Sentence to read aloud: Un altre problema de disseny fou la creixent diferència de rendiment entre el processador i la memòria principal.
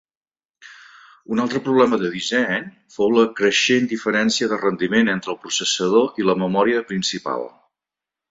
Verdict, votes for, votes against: accepted, 4, 0